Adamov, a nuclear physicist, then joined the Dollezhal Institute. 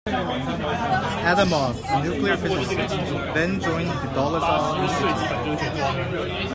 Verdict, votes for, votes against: accepted, 2, 1